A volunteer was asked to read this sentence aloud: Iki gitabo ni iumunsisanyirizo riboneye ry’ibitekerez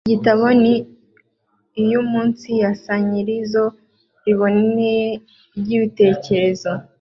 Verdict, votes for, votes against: accepted, 2, 0